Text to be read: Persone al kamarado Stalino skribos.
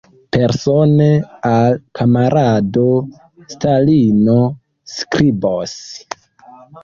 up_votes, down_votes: 2, 0